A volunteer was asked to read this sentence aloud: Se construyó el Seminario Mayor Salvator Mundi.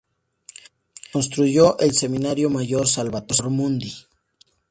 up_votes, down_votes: 4, 2